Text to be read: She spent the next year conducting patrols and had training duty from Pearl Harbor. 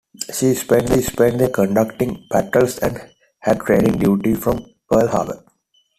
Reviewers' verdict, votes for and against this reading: rejected, 0, 2